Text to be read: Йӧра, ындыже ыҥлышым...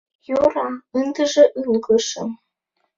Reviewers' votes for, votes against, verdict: 1, 2, rejected